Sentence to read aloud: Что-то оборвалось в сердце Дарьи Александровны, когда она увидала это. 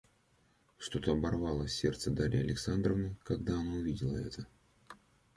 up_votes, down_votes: 1, 2